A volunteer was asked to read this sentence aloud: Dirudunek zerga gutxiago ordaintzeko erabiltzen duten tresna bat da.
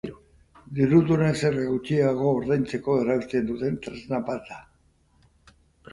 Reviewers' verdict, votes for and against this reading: rejected, 0, 2